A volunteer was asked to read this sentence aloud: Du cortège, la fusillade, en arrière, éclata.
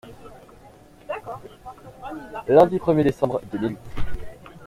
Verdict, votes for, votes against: rejected, 0, 2